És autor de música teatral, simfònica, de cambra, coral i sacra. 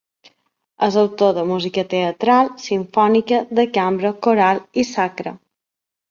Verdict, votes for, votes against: accepted, 3, 0